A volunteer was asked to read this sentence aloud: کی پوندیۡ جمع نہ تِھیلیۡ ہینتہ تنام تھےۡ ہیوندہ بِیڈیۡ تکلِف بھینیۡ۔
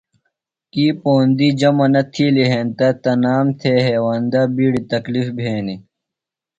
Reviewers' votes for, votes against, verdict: 2, 0, accepted